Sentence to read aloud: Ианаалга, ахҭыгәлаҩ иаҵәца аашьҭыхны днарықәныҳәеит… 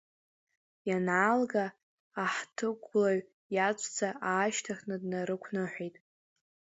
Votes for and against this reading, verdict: 2, 0, accepted